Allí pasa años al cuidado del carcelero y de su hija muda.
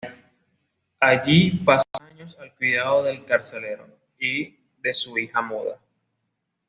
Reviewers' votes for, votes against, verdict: 2, 0, accepted